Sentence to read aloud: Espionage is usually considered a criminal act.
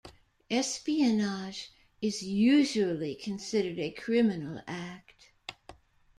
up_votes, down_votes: 0, 2